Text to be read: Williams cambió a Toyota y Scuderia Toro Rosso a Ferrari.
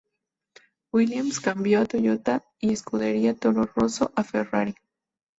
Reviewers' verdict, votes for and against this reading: rejected, 2, 2